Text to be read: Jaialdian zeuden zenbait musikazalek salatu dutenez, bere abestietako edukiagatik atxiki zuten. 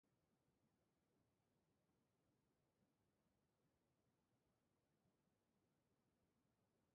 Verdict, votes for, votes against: rejected, 0, 3